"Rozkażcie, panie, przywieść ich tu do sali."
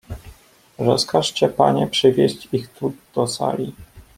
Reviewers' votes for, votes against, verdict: 1, 2, rejected